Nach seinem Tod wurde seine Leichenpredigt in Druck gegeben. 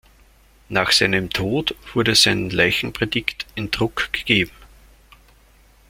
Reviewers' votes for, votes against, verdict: 0, 2, rejected